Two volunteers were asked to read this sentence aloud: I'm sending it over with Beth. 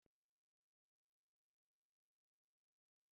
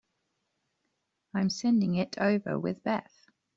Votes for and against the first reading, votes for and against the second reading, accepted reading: 0, 3, 2, 0, second